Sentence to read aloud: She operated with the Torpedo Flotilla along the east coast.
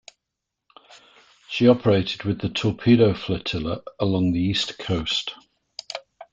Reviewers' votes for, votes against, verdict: 2, 0, accepted